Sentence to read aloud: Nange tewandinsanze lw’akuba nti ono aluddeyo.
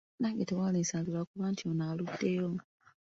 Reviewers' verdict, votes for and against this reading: accepted, 2, 0